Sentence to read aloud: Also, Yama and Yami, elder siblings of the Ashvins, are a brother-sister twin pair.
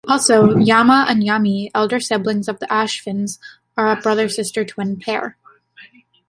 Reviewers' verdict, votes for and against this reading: accepted, 2, 0